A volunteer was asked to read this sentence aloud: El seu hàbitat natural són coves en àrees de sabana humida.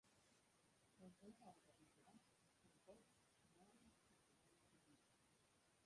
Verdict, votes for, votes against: rejected, 1, 2